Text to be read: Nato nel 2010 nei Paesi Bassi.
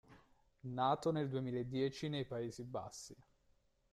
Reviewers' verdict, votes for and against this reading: rejected, 0, 2